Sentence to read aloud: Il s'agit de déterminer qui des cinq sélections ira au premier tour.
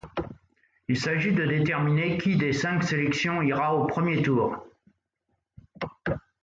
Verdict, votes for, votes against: accepted, 2, 0